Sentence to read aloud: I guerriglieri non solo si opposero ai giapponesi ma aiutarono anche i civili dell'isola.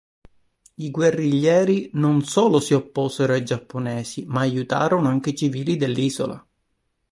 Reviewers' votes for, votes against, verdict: 2, 0, accepted